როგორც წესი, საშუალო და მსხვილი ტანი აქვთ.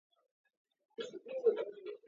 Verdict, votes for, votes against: rejected, 0, 2